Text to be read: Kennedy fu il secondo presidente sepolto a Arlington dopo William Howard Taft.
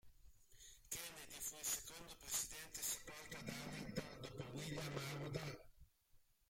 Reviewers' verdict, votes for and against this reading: rejected, 0, 2